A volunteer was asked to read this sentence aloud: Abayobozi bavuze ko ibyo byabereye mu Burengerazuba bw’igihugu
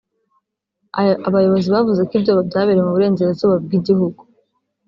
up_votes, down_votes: 2, 3